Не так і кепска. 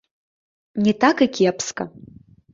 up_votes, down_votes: 1, 2